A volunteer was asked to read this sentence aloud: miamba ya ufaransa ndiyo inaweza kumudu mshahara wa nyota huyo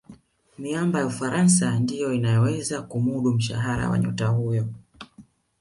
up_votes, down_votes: 2, 1